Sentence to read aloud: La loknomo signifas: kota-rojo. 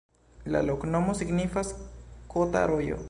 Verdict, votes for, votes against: rejected, 1, 2